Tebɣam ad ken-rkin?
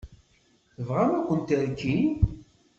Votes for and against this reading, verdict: 1, 2, rejected